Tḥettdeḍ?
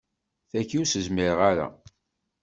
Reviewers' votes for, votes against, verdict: 1, 2, rejected